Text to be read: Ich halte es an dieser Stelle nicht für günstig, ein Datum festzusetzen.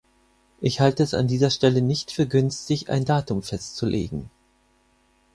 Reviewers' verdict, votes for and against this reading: rejected, 0, 6